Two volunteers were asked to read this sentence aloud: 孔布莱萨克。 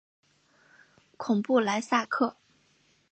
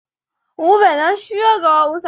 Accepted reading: first